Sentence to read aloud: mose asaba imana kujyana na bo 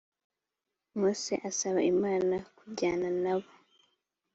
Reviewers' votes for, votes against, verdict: 2, 0, accepted